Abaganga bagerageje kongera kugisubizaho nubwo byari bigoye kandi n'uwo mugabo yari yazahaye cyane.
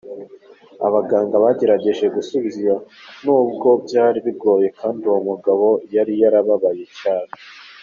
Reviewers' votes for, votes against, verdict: 2, 1, accepted